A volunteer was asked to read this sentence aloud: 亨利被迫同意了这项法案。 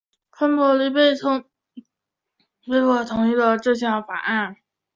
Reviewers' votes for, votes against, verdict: 2, 1, accepted